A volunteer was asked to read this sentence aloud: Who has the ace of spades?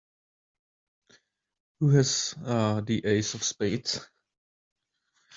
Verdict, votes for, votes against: rejected, 0, 2